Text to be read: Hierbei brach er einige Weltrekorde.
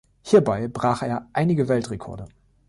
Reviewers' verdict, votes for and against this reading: accepted, 2, 0